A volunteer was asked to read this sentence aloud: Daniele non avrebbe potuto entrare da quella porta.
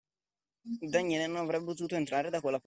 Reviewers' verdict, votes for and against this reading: rejected, 0, 2